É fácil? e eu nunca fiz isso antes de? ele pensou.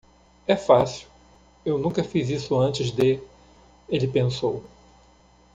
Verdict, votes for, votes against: rejected, 1, 2